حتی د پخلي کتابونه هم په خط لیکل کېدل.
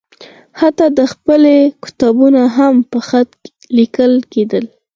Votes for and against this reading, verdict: 4, 2, accepted